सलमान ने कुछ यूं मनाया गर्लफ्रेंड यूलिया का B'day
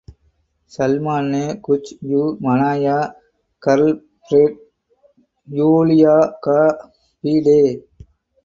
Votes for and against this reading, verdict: 0, 2, rejected